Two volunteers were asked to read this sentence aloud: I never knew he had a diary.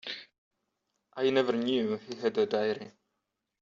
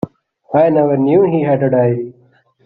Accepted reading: first